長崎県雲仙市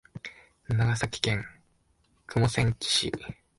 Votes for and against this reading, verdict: 0, 2, rejected